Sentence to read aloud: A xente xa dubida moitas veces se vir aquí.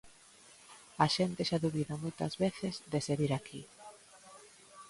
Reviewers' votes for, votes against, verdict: 1, 2, rejected